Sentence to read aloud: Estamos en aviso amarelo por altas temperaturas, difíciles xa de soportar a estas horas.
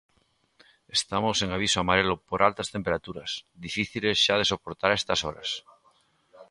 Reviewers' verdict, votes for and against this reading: accepted, 2, 0